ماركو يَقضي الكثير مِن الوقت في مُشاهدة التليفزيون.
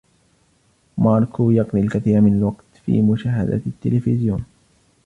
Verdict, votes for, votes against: rejected, 1, 2